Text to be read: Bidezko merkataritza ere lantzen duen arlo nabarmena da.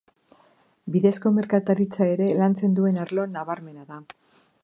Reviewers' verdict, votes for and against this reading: accepted, 2, 0